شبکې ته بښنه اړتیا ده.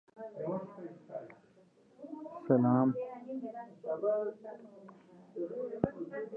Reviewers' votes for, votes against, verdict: 1, 2, rejected